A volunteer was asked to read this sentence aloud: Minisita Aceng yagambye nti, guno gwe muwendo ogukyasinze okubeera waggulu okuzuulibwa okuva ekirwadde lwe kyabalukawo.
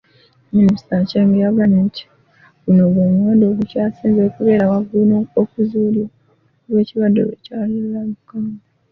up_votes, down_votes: 0, 2